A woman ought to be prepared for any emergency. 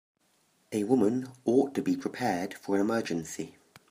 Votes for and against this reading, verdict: 2, 1, accepted